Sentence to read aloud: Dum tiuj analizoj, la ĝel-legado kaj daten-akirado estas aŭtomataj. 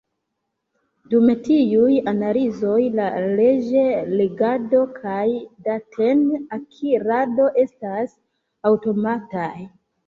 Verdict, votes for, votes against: rejected, 0, 2